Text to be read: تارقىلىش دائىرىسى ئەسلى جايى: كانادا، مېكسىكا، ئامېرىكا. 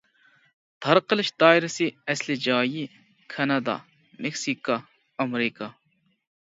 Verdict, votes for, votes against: accepted, 2, 0